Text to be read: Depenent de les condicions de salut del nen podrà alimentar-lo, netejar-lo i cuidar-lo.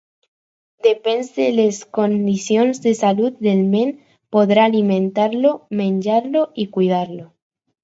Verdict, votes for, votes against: rejected, 2, 4